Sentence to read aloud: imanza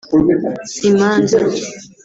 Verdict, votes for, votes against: accepted, 2, 1